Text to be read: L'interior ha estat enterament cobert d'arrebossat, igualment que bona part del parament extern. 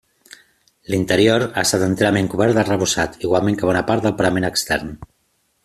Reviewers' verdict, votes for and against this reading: accepted, 2, 1